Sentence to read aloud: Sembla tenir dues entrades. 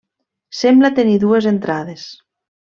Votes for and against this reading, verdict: 3, 0, accepted